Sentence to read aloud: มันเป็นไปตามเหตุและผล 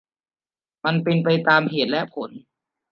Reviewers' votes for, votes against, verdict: 2, 0, accepted